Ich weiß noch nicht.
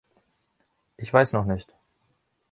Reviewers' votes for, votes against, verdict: 3, 0, accepted